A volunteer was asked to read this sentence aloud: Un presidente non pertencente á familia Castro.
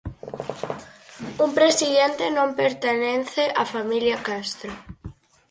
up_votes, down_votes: 0, 4